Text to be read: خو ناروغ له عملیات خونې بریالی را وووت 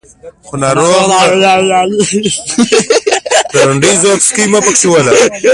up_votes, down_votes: 0, 2